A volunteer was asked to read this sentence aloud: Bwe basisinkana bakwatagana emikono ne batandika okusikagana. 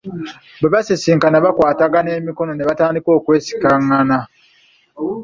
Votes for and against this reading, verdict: 0, 2, rejected